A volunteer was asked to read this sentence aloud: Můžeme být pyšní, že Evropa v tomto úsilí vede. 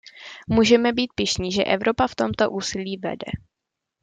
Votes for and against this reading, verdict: 2, 0, accepted